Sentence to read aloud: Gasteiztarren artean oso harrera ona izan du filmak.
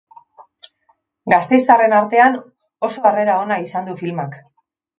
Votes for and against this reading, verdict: 2, 1, accepted